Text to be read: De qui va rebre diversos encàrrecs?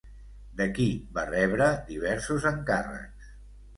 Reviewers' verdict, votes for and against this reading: rejected, 1, 2